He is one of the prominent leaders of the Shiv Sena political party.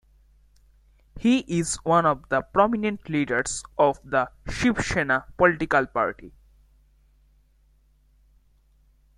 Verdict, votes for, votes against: accepted, 2, 0